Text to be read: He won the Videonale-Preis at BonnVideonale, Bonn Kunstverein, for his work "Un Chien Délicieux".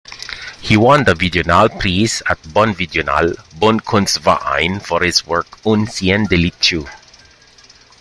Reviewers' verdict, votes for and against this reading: rejected, 1, 2